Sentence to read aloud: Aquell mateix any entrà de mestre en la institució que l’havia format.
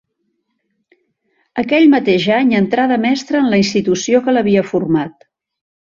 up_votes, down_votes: 3, 0